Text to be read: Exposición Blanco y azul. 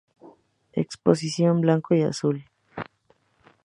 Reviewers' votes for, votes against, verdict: 2, 0, accepted